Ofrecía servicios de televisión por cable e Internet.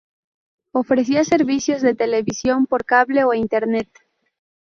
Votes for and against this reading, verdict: 2, 0, accepted